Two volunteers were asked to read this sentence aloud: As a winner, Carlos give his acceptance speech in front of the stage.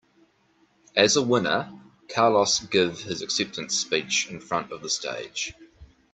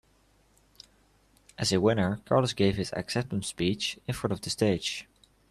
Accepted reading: first